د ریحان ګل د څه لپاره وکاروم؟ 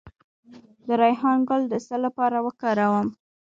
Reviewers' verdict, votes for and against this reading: accepted, 2, 1